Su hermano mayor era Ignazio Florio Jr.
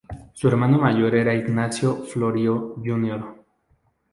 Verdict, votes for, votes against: accepted, 4, 0